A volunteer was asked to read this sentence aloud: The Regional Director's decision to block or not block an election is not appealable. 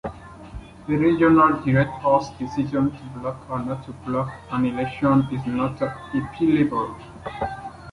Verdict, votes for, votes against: accepted, 2, 1